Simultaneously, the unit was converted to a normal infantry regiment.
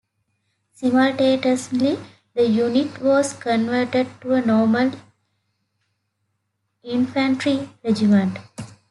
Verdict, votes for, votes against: accepted, 2, 1